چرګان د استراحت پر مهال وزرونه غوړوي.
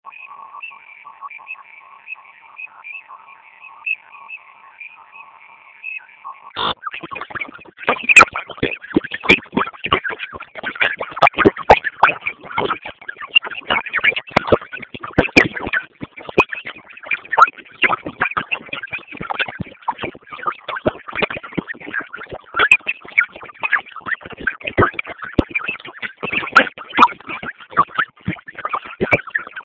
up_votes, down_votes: 0, 2